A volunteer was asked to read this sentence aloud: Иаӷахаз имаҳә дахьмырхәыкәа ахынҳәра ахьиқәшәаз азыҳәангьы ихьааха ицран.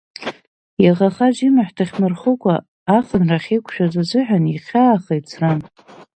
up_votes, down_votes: 1, 2